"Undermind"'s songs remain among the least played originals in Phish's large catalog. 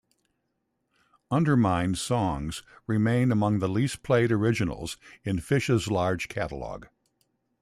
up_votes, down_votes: 2, 0